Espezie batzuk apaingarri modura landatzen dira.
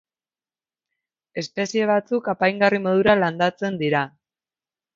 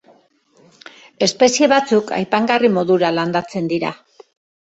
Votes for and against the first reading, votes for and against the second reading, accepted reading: 3, 0, 1, 2, first